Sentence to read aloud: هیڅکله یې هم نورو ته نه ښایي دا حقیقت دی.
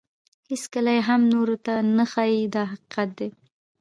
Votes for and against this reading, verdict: 2, 0, accepted